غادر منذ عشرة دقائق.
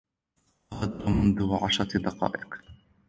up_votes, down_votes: 2, 1